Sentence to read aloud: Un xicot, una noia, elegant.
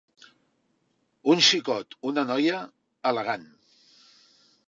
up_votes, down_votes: 3, 0